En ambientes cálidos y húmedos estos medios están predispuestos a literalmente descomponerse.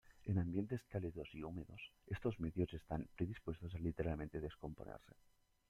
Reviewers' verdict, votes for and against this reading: rejected, 0, 2